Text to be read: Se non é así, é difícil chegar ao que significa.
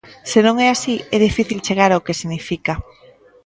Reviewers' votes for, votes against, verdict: 0, 2, rejected